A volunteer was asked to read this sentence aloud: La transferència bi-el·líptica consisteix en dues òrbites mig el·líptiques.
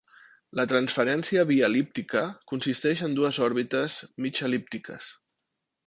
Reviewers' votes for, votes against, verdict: 2, 0, accepted